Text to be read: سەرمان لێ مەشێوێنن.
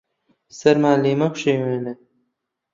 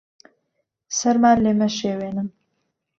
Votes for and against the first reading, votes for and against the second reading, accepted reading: 1, 2, 2, 0, second